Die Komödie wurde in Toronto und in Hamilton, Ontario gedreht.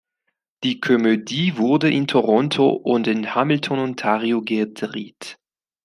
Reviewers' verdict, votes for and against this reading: rejected, 0, 3